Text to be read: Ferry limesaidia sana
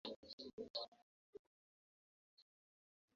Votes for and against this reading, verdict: 0, 2, rejected